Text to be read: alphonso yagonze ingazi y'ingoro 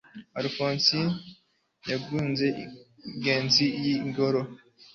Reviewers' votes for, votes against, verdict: 2, 0, accepted